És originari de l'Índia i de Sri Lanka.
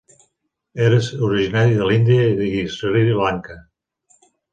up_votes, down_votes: 0, 2